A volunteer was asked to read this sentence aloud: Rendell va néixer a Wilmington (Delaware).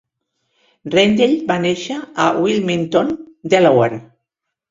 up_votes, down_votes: 3, 1